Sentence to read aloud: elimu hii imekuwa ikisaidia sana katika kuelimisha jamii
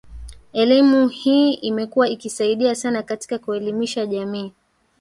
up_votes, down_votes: 1, 2